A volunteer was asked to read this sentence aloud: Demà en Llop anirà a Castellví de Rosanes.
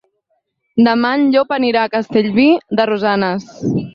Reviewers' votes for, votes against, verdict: 4, 0, accepted